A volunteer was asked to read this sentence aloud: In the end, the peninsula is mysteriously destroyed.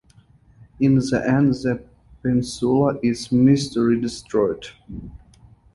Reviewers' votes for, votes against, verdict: 2, 4, rejected